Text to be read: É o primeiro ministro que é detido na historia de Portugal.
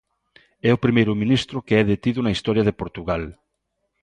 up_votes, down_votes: 2, 0